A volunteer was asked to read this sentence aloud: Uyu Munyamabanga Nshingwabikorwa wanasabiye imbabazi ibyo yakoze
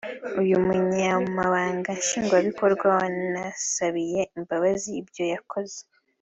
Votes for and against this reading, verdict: 2, 0, accepted